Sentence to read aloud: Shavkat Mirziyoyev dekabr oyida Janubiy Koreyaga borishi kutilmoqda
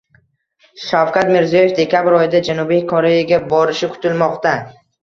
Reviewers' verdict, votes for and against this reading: accepted, 2, 0